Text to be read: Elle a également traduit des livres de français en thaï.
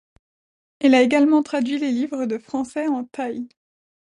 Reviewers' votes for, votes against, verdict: 1, 2, rejected